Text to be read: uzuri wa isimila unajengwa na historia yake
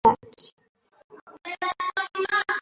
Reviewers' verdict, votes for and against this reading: rejected, 0, 2